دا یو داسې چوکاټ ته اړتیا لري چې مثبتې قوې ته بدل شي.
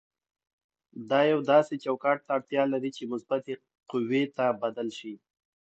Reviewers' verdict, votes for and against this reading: accepted, 2, 0